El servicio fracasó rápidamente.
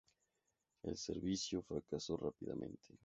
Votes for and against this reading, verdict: 0, 2, rejected